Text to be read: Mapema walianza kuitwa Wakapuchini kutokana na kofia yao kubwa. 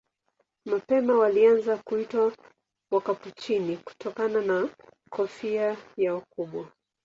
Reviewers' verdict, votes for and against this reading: accepted, 9, 6